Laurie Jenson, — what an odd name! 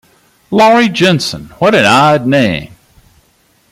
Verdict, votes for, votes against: accepted, 2, 0